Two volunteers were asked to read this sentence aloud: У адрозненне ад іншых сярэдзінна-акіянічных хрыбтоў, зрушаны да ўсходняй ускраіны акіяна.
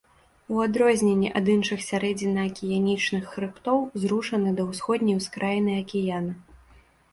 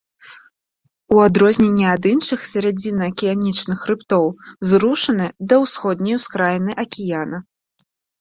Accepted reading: first